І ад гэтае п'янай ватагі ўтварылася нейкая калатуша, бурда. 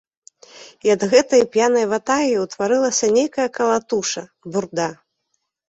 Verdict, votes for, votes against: accepted, 3, 0